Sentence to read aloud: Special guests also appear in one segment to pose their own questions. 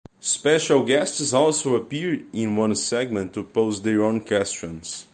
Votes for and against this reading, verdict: 1, 2, rejected